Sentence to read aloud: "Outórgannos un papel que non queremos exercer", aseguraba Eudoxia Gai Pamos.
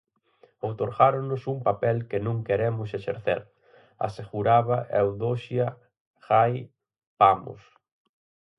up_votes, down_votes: 0, 4